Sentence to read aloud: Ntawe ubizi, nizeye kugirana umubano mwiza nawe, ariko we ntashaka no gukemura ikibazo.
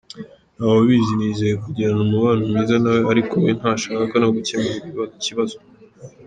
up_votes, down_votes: 0, 2